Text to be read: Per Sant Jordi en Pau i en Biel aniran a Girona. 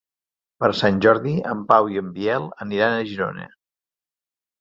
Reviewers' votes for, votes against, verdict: 4, 0, accepted